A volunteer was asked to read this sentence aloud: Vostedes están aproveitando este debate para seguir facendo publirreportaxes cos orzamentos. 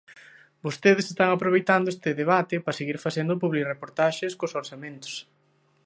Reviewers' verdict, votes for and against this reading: accepted, 2, 1